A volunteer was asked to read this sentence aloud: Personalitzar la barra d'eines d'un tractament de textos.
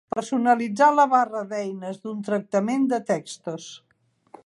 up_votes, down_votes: 3, 1